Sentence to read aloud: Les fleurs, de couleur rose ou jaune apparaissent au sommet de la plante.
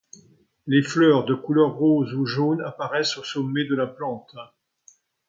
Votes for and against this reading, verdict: 2, 0, accepted